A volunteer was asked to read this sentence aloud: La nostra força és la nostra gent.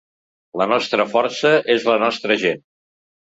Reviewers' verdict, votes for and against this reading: accepted, 3, 0